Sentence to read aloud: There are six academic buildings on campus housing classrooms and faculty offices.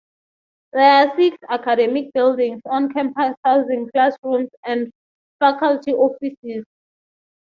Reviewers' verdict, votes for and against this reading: accepted, 6, 0